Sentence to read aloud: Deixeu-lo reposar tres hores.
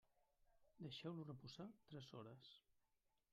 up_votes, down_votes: 0, 2